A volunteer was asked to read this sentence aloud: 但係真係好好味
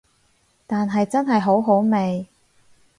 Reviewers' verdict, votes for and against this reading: accepted, 4, 0